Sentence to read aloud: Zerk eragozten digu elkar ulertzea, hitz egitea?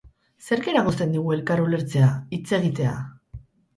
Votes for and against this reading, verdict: 4, 0, accepted